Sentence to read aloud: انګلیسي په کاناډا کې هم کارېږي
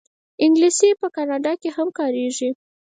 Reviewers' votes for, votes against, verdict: 0, 4, rejected